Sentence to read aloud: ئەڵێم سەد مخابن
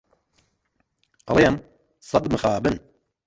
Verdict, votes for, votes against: accepted, 2, 1